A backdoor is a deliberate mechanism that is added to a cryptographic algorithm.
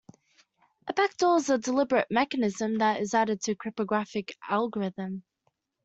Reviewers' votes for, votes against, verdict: 1, 2, rejected